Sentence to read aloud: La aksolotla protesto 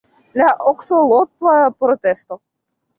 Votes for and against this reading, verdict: 1, 3, rejected